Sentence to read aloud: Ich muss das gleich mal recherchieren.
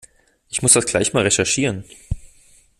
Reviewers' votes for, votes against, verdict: 2, 0, accepted